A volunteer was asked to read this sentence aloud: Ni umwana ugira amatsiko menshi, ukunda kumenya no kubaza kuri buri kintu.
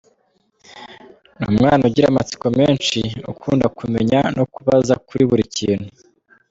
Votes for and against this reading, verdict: 2, 1, accepted